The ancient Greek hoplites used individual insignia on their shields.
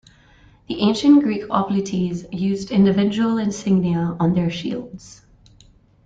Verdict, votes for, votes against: rejected, 1, 2